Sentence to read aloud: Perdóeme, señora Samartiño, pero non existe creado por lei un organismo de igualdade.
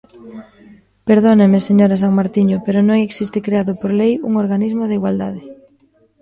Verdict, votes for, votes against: rejected, 0, 2